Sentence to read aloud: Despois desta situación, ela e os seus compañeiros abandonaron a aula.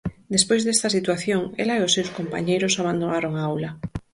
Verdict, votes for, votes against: rejected, 0, 4